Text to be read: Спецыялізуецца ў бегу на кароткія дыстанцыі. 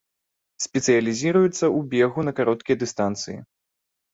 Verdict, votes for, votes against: rejected, 0, 3